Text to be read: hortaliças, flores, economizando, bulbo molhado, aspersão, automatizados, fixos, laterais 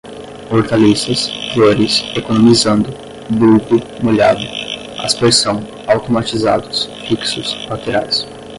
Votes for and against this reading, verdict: 10, 0, accepted